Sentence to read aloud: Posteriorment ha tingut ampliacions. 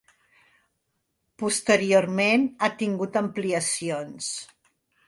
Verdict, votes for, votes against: accepted, 2, 0